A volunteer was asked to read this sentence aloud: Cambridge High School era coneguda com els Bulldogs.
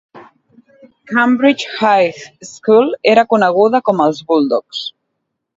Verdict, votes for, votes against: accepted, 2, 0